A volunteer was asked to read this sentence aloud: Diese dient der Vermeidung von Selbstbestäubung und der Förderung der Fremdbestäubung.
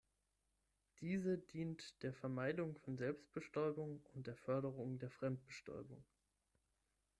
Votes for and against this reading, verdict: 3, 6, rejected